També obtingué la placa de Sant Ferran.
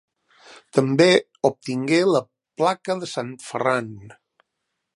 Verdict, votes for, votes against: accepted, 3, 0